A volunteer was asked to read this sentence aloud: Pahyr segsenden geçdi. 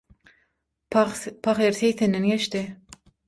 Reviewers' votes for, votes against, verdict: 3, 6, rejected